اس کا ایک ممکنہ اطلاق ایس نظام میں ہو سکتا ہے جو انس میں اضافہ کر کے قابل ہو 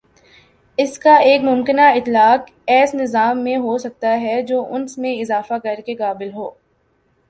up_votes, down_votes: 1, 2